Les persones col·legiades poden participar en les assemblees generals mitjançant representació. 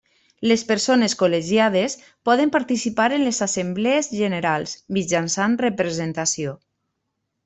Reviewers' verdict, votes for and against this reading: accepted, 3, 0